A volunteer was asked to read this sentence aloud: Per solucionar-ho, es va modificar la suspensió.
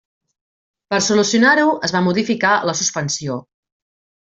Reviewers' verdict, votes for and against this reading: accepted, 3, 0